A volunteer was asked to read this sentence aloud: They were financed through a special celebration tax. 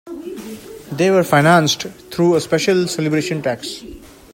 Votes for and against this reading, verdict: 2, 0, accepted